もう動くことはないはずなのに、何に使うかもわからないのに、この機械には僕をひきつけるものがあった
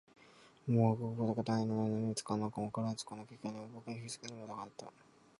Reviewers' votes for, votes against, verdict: 0, 2, rejected